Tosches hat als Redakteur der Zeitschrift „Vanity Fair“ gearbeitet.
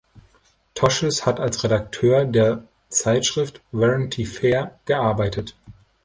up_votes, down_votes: 0, 2